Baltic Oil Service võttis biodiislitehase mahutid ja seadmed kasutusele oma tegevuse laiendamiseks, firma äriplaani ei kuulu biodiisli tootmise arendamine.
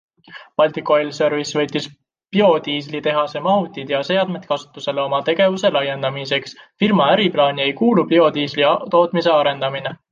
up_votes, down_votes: 2, 1